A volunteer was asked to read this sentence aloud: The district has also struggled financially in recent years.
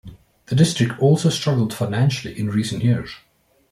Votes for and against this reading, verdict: 1, 2, rejected